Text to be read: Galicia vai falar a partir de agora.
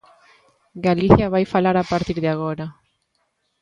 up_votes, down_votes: 2, 0